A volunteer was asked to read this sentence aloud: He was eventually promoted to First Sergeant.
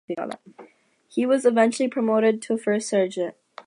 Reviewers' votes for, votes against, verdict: 2, 0, accepted